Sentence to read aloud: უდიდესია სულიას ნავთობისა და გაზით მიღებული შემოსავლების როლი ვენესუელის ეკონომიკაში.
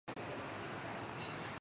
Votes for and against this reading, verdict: 0, 2, rejected